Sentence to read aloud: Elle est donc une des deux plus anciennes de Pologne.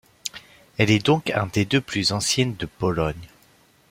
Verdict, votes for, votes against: rejected, 0, 2